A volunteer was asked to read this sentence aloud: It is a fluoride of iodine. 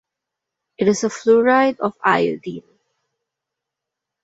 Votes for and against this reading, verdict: 2, 1, accepted